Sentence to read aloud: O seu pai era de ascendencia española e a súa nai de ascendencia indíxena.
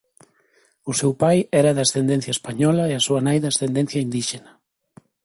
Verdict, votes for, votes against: accepted, 2, 1